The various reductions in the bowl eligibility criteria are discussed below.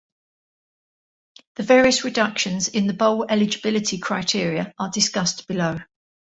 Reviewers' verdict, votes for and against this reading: accepted, 2, 0